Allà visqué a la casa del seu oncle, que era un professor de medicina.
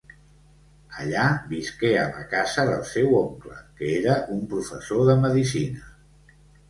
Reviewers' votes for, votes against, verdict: 1, 2, rejected